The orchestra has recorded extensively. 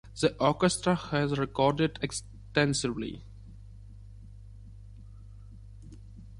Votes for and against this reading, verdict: 2, 0, accepted